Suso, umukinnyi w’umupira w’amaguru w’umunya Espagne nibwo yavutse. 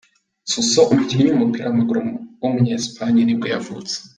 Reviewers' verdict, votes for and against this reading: accepted, 2, 1